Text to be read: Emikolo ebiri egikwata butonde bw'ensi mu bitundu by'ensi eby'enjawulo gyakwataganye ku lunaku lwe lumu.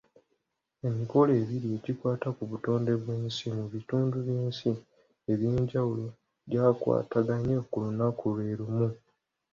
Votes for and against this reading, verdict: 2, 0, accepted